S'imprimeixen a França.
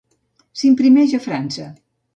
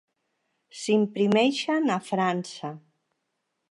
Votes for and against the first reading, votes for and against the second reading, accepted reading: 0, 2, 3, 0, second